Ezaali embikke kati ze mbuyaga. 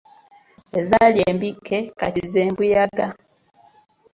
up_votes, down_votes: 2, 0